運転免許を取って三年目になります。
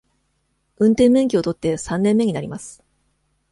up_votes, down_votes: 1, 2